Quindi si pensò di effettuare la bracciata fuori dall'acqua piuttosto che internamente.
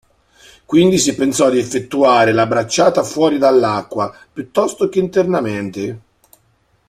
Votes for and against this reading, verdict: 2, 0, accepted